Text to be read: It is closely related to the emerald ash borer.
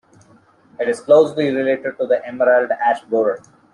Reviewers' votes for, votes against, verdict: 2, 1, accepted